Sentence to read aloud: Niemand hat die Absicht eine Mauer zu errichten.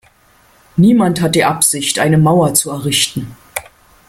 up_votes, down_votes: 2, 0